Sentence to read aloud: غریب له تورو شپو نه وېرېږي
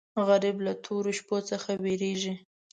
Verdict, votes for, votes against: rejected, 1, 2